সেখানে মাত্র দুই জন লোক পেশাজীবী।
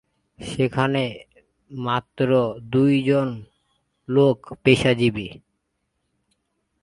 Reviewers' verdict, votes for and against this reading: rejected, 1, 2